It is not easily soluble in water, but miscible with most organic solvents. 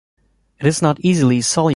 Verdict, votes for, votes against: accepted, 2, 1